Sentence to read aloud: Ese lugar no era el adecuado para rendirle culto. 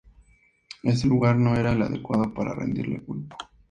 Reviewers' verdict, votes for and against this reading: accepted, 4, 0